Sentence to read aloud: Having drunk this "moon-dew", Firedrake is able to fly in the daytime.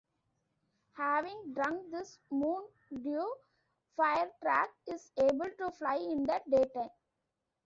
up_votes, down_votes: 1, 2